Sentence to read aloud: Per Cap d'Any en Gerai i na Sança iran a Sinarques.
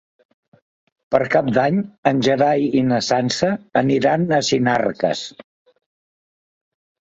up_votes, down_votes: 1, 2